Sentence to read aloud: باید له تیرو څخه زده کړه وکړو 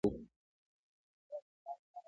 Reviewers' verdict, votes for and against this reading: rejected, 0, 2